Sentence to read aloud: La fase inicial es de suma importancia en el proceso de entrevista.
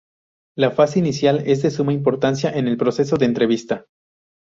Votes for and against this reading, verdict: 2, 0, accepted